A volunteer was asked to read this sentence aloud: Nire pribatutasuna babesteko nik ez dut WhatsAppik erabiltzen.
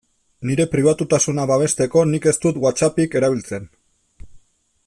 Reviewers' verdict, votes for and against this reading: accepted, 2, 0